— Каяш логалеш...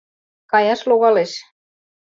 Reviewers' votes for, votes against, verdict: 2, 0, accepted